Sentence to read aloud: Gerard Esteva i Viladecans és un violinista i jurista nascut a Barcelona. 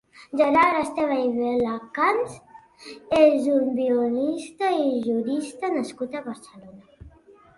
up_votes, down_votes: 0, 2